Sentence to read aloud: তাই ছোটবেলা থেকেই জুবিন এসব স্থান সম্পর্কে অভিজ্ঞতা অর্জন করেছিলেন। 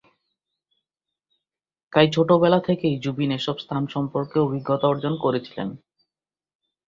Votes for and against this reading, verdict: 13, 0, accepted